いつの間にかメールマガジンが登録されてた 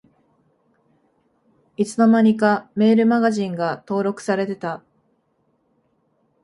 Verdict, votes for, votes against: accepted, 2, 0